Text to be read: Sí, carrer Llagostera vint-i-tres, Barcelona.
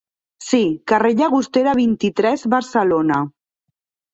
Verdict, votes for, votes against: accepted, 2, 0